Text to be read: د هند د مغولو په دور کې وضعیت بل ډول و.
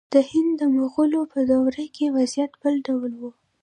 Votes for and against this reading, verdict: 1, 2, rejected